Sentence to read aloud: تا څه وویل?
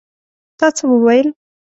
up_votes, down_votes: 2, 0